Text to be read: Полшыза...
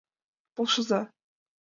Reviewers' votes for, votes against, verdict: 3, 0, accepted